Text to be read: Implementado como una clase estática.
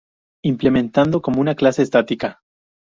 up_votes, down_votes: 4, 0